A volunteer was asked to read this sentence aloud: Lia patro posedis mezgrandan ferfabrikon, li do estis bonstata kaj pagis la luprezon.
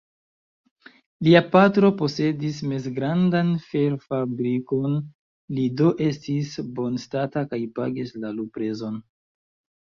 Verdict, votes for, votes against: rejected, 2, 3